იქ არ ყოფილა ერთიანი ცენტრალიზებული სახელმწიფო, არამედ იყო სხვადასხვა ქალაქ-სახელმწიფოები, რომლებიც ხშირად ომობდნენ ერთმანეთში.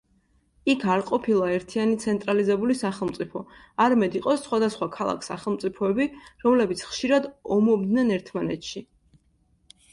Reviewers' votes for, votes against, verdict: 2, 0, accepted